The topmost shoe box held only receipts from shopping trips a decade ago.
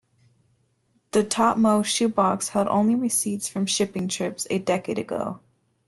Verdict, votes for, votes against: accepted, 2, 1